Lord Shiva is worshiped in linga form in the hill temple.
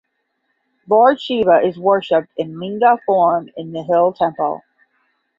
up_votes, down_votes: 5, 10